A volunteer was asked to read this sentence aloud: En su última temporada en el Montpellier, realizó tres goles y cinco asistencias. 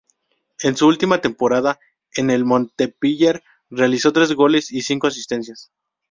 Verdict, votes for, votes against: accepted, 2, 0